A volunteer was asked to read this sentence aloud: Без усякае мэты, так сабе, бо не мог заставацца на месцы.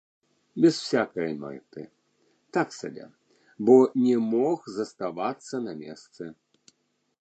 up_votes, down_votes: 1, 2